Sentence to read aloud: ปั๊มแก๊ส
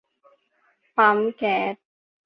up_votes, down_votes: 2, 0